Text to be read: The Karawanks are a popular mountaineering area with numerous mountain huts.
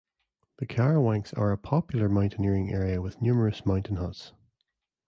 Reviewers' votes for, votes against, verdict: 0, 2, rejected